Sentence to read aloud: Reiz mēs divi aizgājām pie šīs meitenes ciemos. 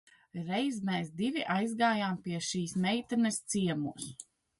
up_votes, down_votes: 2, 0